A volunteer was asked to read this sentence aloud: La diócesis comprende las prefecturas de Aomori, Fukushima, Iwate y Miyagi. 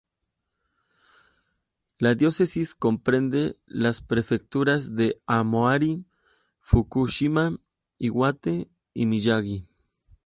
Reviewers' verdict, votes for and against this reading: rejected, 0, 2